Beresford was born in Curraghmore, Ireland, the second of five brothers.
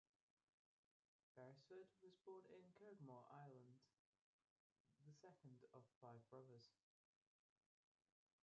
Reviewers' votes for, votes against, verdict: 0, 3, rejected